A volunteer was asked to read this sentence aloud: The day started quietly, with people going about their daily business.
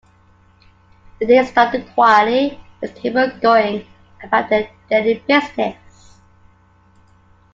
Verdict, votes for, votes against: accepted, 2, 1